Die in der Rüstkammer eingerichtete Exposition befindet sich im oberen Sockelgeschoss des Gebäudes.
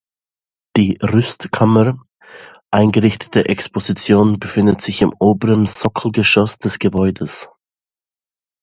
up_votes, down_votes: 0, 2